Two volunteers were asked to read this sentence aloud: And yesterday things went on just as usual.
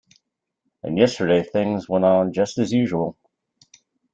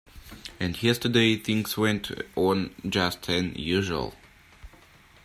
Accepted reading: first